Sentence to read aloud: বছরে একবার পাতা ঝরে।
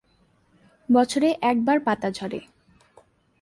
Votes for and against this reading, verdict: 2, 0, accepted